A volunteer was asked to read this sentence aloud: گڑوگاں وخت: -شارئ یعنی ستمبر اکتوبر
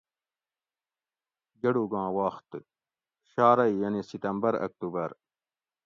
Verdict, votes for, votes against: accepted, 2, 0